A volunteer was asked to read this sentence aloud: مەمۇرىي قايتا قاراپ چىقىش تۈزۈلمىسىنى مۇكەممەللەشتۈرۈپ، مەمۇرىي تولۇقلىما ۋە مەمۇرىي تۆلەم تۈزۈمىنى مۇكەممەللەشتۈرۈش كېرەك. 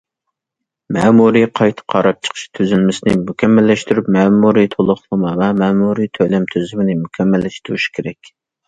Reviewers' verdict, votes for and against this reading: accepted, 2, 0